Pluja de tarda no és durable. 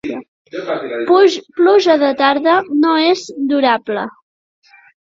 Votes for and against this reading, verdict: 0, 2, rejected